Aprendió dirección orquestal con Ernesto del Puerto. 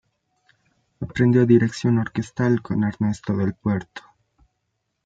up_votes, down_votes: 0, 2